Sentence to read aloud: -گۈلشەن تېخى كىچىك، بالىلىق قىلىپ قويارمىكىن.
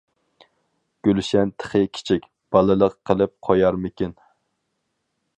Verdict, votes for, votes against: accepted, 4, 0